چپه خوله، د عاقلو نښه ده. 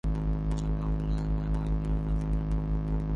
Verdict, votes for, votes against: rejected, 0, 2